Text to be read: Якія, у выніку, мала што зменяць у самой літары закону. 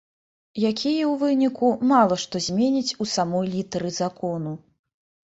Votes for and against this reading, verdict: 3, 0, accepted